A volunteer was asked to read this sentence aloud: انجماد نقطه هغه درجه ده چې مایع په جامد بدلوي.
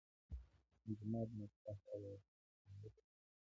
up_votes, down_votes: 0, 2